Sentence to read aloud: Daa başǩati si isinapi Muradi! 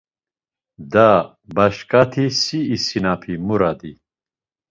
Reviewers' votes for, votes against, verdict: 2, 0, accepted